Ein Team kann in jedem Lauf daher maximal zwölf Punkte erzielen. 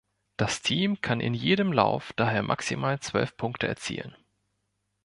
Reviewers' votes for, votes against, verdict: 0, 3, rejected